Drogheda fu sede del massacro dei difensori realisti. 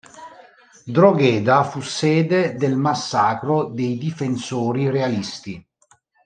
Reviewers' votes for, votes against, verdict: 2, 0, accepted